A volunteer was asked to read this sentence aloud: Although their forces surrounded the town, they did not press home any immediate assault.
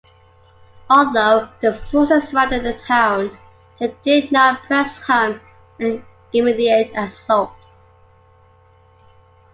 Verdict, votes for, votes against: rejected, 1, 2